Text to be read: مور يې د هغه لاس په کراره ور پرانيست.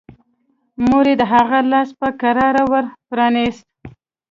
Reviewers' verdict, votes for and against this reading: accepted, 2, 0